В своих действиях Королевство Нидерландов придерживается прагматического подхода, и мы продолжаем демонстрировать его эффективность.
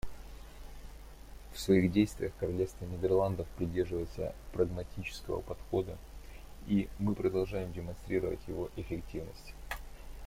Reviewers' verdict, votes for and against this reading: accepted, 2, 0